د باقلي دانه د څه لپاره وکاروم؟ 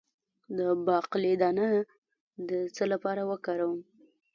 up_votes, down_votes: 0, 2